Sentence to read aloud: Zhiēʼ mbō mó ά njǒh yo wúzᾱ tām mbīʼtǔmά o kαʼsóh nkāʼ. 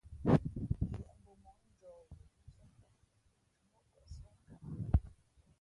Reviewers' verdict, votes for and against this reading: rejected, 0, 2